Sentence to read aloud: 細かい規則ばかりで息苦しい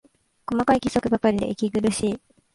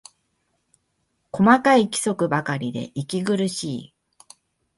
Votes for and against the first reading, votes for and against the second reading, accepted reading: 1, 2, 2, 0, second